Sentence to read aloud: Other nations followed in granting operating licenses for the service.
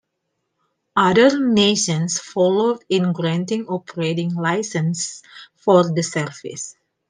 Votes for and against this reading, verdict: 1, 2, rejected